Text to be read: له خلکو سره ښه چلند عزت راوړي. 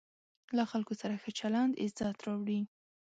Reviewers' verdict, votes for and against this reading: accepted, 2, 0